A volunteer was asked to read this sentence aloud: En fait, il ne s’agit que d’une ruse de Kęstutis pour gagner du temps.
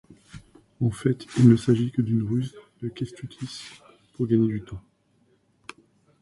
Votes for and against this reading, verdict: 2, 0, accepted